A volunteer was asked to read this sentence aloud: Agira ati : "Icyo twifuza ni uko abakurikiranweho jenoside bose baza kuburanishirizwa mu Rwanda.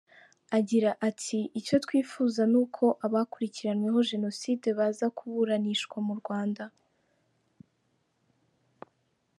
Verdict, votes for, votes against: accepted, 2, 0